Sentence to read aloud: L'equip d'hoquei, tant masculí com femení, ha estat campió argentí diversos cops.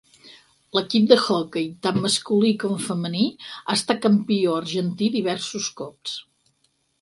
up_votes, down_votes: 4, 0